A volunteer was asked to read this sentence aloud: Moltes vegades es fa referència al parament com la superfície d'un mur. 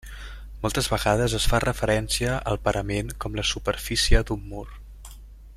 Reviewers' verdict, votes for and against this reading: accepted, 3, 0